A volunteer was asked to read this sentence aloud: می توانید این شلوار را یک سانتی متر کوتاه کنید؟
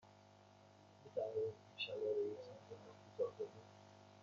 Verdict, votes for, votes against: accepted, 2, 0